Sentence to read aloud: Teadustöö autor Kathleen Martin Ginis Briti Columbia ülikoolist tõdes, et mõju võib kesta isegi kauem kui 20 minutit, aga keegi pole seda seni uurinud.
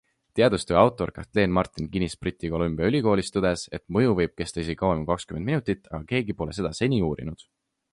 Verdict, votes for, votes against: rejected, 0, 2